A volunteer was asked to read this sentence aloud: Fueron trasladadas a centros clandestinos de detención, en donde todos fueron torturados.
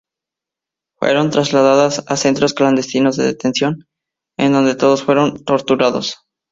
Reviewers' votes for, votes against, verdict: 4, 0, accepted